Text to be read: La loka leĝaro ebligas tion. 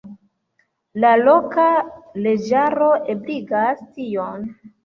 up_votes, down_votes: 2, 1